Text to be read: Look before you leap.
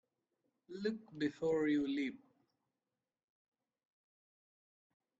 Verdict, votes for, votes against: rejected, 1, 2